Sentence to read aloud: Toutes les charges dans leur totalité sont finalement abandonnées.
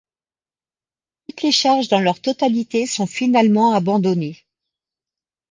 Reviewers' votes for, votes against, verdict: 2, 1, accepted